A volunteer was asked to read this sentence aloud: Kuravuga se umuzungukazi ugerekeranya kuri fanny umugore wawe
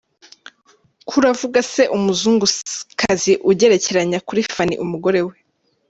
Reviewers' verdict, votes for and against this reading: rejected, 0, 2